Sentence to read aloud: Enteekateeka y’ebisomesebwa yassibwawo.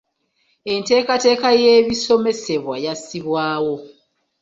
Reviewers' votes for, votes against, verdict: 2, 0, accepted